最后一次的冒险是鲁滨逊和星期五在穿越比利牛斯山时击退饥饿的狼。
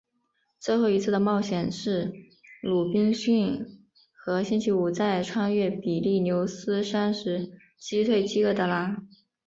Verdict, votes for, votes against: accepted, 2, 0